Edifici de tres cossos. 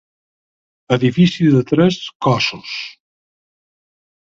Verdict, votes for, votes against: accepted, 4, 0